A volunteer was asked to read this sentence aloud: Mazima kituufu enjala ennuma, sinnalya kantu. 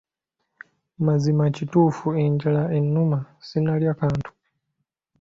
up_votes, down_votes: 2, 0